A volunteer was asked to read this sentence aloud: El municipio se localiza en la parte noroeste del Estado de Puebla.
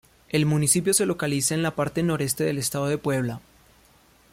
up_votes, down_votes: 0, 2